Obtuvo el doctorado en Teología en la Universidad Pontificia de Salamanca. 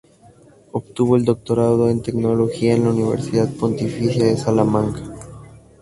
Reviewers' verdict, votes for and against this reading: rejected, 0, 2